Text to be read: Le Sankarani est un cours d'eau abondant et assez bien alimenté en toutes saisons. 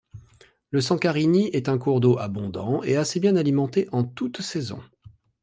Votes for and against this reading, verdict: 1, 2, rejected